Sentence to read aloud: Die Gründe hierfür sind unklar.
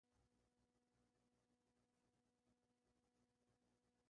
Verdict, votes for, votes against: rejected, 1, 2